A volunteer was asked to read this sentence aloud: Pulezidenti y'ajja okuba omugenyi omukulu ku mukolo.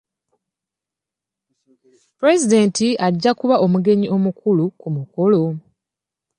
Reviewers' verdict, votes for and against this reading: rejected, 1, 2